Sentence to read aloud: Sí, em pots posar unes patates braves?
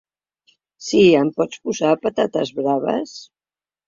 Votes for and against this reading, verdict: 0, 2, rejected